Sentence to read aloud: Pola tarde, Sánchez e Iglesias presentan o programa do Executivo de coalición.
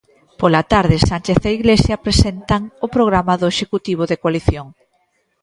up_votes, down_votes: 1, 2